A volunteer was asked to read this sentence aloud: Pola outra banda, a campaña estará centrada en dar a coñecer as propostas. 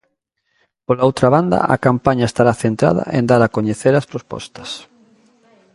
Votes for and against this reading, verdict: 1, 2, rejected